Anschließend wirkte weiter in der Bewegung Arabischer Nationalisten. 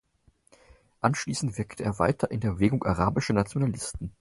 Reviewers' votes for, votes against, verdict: 4, 0, accepted